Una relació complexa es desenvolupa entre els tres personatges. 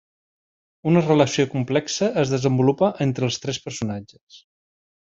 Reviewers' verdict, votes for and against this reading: accepted, 3, 0